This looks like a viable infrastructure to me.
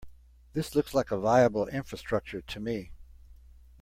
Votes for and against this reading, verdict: 2, 0, accepted